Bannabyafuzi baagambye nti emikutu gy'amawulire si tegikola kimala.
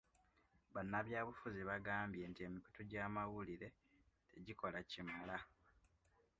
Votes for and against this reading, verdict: 1, 2, rejected